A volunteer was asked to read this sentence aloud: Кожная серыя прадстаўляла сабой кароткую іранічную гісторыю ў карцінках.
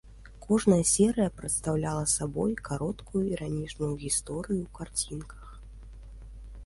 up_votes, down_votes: 3, 0